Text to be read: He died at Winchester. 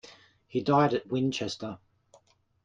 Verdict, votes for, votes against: accepted, 2, 0